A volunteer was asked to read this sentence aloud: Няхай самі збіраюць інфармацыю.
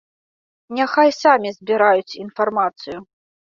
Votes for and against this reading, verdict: 2, 0, accepted